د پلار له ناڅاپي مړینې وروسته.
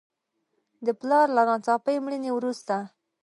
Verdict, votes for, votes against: accepted, 2, 1